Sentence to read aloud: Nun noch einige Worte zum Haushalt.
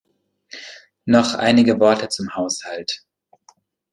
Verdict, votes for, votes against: rejected, 0, 2